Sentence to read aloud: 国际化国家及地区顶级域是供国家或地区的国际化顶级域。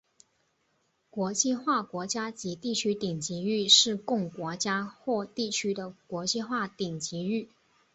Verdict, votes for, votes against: rejected, 0, 2